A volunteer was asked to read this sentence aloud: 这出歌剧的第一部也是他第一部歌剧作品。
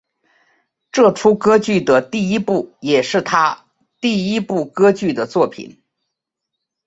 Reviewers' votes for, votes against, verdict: 3, 0, accepted